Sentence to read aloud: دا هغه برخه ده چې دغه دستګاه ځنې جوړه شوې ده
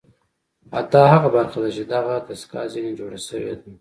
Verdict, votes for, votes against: accepted, 2, 0